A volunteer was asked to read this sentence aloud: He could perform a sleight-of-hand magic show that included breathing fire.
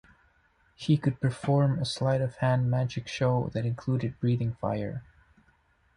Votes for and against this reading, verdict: 1, 2, rejected